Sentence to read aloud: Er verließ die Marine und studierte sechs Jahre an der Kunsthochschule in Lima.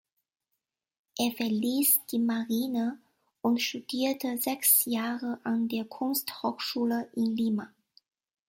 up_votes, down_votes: 2, 0